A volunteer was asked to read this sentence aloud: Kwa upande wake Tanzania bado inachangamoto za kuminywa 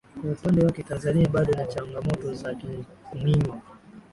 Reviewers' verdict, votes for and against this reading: accepted, 2, 0